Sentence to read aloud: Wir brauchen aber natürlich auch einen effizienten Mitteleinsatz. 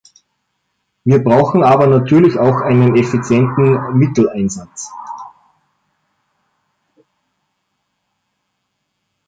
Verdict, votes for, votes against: accepted, 2, 1